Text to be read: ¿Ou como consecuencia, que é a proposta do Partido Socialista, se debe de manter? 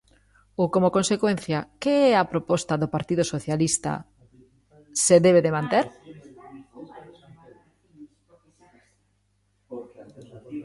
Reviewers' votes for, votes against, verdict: 1, 2, rejected